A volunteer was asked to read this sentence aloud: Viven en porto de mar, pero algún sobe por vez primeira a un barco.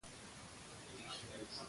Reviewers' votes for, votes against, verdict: 0, 2, rejected